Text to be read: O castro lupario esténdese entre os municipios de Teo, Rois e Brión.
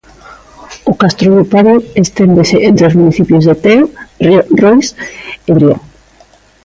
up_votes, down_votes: 0, 2